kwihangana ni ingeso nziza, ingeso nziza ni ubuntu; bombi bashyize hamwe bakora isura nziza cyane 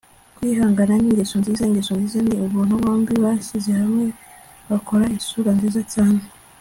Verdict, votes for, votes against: accepted, 2, 0